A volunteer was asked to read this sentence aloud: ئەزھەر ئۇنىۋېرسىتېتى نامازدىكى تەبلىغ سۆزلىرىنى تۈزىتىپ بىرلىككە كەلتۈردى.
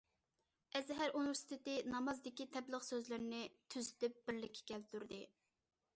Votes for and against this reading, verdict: 2, 0, accepted